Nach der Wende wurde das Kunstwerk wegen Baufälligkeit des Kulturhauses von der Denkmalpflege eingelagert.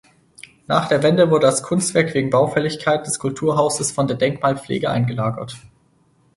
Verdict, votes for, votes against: accepted, 4, 0